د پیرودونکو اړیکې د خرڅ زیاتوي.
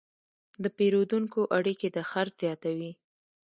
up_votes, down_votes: 2, 0